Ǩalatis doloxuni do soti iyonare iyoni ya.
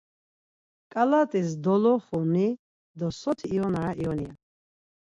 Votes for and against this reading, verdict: 2, 4, rejected